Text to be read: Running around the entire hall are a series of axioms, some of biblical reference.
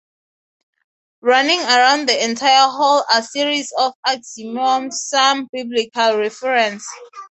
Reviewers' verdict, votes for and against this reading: rejected, 0, 3